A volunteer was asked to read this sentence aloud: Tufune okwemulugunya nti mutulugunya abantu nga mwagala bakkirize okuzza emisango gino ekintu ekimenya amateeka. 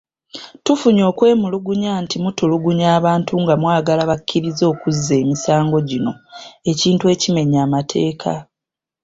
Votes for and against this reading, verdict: 3, 0, accepted